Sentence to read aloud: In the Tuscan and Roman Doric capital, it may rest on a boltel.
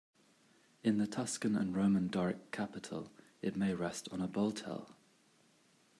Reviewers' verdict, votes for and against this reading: accepted, 2, 1